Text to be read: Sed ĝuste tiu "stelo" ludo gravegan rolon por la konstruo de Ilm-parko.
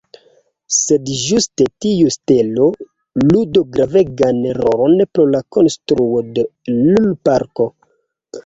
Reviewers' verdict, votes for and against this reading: rejected, 1, 2